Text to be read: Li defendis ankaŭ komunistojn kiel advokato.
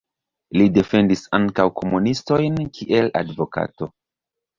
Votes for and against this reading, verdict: 1, 2, rejected